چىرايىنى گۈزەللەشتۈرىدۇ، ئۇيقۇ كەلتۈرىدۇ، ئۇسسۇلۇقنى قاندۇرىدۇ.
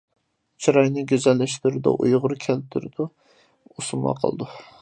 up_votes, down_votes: 0, 2